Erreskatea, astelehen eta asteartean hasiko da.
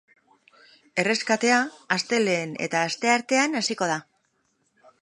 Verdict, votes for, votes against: accepted, 2, 0